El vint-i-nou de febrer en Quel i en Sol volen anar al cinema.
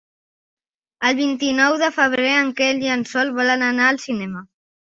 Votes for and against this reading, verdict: 2, 0, accepted